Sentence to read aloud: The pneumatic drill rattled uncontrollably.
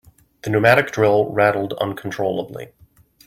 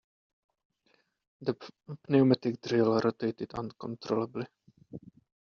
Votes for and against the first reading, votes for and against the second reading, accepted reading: 2, 0, 0, 2, first